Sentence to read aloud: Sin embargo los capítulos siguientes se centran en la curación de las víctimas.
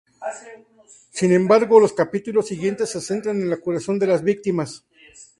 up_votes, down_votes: 2, 0